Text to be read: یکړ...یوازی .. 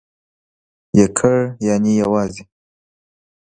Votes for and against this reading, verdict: 0, 2, rejected